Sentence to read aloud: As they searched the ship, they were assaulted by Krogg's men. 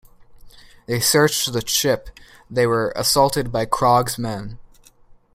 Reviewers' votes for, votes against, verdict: 0, 2, rejected